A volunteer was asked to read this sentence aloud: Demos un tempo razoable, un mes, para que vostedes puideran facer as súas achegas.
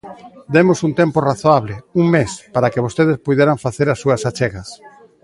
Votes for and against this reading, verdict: 1, 2, rejected